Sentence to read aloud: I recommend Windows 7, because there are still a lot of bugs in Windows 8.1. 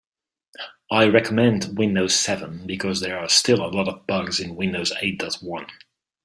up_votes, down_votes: 0, 2